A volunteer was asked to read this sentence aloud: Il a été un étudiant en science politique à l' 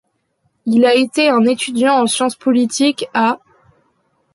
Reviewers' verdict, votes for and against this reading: rejected, 0, 2